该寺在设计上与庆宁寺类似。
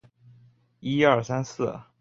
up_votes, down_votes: 0, 3